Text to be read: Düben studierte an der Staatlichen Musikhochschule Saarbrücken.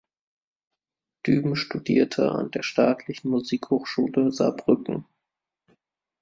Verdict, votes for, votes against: accepted, 2, 0